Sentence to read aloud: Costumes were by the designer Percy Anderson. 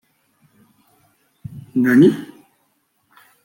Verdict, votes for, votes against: rejected, 0, 3